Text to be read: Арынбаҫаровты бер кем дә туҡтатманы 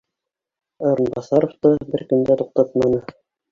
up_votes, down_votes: 0, 2